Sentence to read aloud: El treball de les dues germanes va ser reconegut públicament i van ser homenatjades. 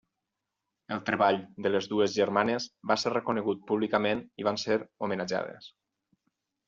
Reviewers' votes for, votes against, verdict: 4, 0, accepted